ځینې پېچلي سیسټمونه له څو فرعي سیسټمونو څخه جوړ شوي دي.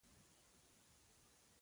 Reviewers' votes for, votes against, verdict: 0, 2, rejected